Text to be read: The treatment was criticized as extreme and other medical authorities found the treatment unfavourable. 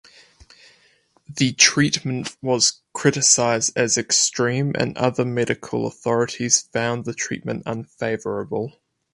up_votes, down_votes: 4, 0